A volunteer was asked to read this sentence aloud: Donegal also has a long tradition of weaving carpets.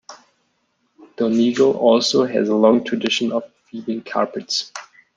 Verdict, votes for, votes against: accepted, 2, 0